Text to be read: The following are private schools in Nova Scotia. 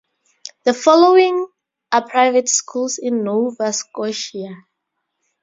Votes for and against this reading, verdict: 2, 0, accepted